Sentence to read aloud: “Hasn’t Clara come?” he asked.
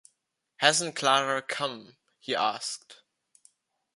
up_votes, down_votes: 2, 0